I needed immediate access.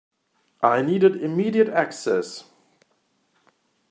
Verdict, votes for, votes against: accepted, 2, 0